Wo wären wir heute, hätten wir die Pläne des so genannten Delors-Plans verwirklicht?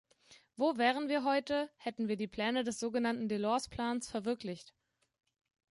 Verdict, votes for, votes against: rejected, 0, 2